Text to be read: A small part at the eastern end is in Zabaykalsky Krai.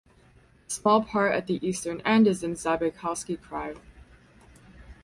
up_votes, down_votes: 0, 2